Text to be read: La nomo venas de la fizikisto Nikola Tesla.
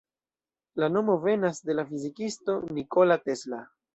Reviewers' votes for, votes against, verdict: 0, 2, rejected